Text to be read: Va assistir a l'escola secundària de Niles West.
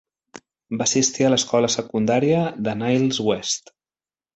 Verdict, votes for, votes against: accepted, 2, 0